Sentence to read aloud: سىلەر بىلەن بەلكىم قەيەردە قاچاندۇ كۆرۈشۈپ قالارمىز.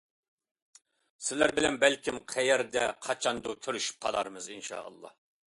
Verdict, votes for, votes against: rejected, 0, 2